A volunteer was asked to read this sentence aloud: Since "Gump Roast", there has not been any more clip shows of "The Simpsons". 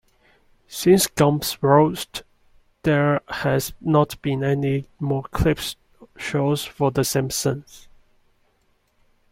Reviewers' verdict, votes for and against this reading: rejected, 1, 2